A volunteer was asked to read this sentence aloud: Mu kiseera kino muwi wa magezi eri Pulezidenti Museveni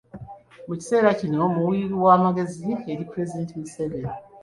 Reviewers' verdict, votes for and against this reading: rejected, 0, 2